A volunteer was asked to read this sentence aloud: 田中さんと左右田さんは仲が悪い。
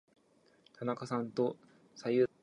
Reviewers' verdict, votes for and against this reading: rejected, 0, 2